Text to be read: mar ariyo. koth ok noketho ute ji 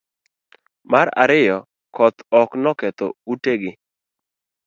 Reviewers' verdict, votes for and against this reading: rejected, 1, 2